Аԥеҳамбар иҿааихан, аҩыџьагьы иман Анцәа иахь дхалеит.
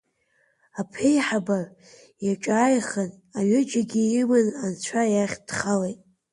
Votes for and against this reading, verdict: 0, 2, rejected